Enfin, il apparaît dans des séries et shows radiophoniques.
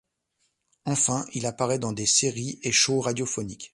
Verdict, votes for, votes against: accepted, 2, 0